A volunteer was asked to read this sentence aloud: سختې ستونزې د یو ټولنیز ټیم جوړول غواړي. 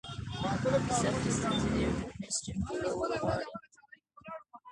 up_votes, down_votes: 0, 2